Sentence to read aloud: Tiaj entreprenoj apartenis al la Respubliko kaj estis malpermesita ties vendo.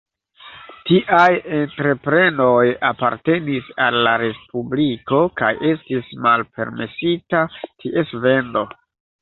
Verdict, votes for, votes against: rejected, 1, 2